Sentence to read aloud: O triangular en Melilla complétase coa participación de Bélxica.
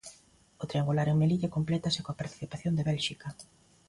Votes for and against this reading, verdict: 2, 0, accepted